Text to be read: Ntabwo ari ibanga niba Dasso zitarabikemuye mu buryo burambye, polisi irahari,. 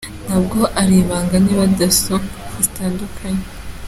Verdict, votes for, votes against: rejected, 0, 2